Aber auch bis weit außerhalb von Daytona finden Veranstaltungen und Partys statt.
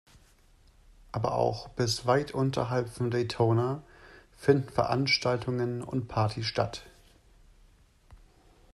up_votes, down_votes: 0, 2